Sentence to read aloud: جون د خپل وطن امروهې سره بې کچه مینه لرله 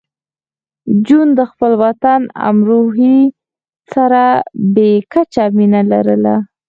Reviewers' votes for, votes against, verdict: 4, 2, accepted